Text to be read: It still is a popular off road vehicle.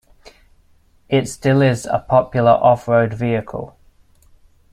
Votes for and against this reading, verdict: 2, 0, accepted